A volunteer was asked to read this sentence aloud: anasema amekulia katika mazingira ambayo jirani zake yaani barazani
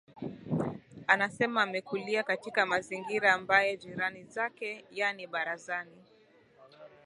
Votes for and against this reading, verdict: 3, 0, accepted